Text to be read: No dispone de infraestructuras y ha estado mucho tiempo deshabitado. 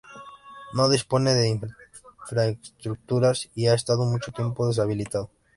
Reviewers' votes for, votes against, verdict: 0, 2, rejected